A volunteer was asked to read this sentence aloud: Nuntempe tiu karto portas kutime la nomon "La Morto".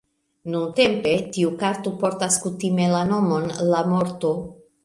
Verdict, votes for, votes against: rejected, 1, 2